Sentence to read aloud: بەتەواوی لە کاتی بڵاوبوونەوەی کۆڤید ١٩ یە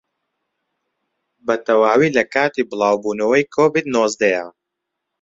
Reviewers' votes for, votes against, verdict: 0, 2, rejected